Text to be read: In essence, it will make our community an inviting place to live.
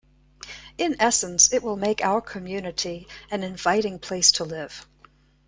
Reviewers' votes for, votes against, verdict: 2, 1, accepted